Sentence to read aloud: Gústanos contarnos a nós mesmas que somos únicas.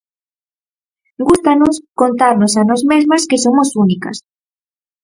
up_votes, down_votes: 4, 0